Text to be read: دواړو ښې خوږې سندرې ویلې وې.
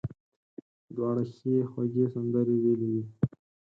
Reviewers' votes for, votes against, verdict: 4, 0, accepted